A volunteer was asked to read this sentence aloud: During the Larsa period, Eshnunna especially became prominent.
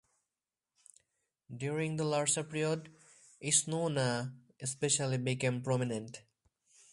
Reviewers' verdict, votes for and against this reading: rejected, 2, 2